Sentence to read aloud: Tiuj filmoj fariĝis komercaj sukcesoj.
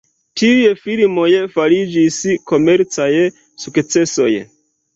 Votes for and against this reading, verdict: 2, 0, accepted